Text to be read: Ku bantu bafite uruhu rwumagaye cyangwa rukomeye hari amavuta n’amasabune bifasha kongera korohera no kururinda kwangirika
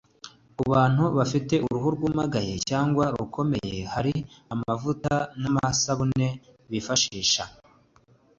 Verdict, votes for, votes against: accepted, 2, 1